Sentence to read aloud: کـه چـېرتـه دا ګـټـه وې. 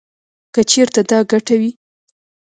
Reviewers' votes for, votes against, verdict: 0, 2, rejected